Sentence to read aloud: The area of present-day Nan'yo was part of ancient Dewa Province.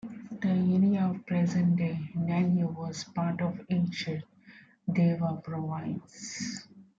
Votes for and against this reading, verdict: 2, 1, accepted